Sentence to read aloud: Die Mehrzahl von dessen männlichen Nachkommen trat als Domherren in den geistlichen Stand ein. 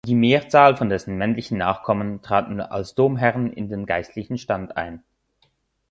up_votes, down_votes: 1, 2